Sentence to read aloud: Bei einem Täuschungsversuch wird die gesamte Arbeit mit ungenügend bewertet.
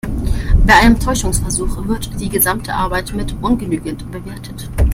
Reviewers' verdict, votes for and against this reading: accepted, 2, 0